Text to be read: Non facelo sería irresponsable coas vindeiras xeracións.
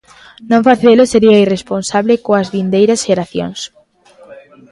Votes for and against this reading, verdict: 2, 0, accepted